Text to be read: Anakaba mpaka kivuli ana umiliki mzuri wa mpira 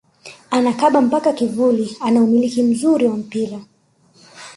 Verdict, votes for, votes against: accepted, 2, 0